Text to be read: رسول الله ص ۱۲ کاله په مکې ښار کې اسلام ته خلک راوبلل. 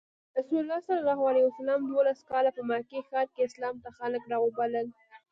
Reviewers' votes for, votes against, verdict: 0, 2, rejected